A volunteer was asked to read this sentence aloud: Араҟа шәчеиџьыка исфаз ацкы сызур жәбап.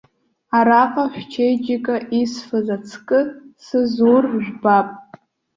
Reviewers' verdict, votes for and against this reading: accepted, 2, 0